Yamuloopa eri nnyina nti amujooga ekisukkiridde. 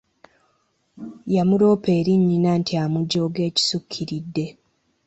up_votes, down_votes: 3, 0